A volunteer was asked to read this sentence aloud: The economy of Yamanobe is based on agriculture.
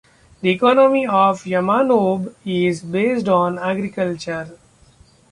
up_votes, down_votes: 1, 2